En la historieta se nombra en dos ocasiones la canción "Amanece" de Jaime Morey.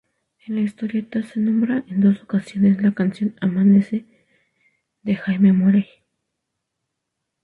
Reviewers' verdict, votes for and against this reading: rejected, 2, 2